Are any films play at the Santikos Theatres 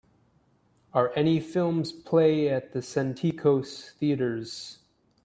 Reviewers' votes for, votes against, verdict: 2, 0, accepted